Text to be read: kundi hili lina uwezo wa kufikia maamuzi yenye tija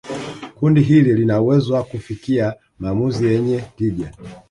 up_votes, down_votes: 1, 2